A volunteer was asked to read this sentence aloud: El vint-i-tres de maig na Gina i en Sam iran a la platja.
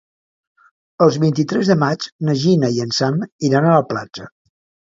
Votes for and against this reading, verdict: 0, 2, rejected